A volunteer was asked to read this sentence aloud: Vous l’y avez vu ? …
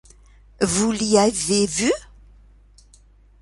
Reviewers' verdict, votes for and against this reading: accepted, 3, 0